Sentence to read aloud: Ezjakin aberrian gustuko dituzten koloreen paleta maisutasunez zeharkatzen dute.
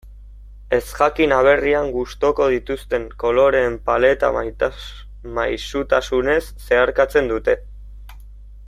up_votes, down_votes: 0, 2